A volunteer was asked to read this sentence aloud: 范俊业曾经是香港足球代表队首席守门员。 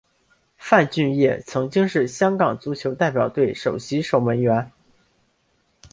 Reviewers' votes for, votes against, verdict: 2, 1, accepted